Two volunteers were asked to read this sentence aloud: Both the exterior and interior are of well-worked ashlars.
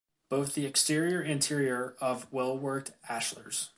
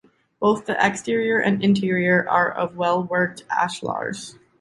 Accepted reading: second